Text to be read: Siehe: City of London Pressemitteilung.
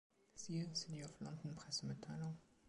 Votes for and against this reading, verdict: 2, 1, accepted